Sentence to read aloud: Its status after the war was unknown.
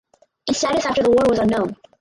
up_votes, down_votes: 0, 4